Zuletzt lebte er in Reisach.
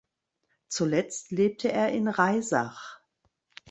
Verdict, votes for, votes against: accepted, 2, 0